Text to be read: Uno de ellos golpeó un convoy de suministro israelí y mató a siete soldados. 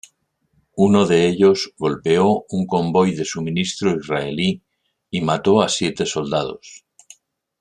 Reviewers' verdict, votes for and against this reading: accepted, 2, 0